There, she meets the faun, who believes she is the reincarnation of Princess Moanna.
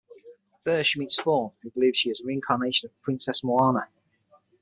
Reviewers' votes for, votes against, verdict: 6, 3, accepted